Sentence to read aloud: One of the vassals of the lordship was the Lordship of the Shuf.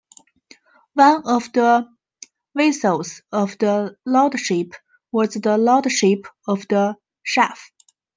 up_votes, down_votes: 0, 2